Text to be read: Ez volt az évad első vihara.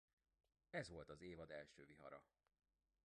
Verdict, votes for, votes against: rejected, 0, 2